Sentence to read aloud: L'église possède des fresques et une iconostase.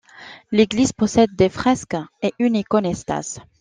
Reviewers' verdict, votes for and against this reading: rejected, 0, 2